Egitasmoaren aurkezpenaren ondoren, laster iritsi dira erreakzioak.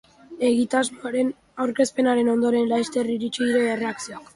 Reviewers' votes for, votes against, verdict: 2, 0, accepted